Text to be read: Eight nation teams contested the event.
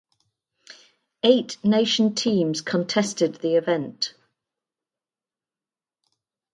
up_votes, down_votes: 2, 0